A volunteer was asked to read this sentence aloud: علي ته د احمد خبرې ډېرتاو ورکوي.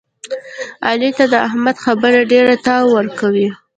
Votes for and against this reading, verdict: 2, 0, accepted